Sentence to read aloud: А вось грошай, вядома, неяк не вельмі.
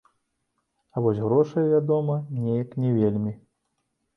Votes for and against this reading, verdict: 1, 2, rejected